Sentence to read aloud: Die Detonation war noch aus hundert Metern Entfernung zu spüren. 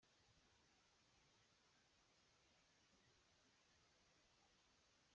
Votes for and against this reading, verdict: 0, 2, rejected